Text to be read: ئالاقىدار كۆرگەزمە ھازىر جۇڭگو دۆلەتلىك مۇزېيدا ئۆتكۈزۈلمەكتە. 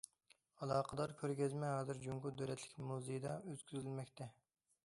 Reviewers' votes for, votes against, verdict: 2, 0, accepted